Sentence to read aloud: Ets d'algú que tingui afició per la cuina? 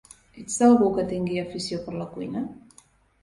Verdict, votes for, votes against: rejected, 1, 2